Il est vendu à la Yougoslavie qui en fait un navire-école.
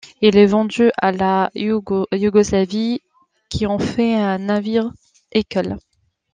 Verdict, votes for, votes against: rejected, 0, 2